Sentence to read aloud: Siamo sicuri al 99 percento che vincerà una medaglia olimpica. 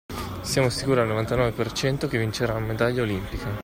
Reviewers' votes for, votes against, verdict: 0, 2, rejected